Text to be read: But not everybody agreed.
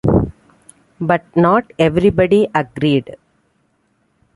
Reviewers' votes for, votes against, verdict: 2, 1, accepted